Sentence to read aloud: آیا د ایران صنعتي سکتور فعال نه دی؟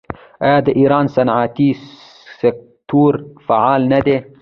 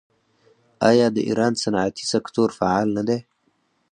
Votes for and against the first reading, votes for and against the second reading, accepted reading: 1, 2, 4, 0, second